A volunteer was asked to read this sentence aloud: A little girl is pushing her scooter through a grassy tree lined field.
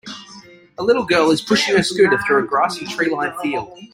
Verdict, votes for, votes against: accepted, 3, 0